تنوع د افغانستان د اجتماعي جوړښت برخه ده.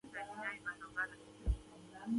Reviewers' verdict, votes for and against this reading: rejected, 1, 2